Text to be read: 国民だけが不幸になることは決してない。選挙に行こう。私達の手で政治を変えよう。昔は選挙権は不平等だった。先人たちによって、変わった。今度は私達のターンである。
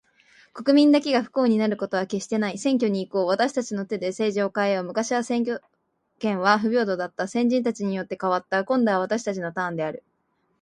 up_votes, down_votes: 2, 0